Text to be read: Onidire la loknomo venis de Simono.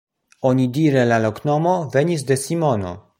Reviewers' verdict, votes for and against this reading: accepted, 2, 0